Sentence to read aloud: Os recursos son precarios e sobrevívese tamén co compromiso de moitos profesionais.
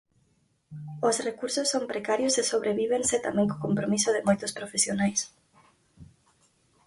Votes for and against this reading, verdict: 0, 4, rejected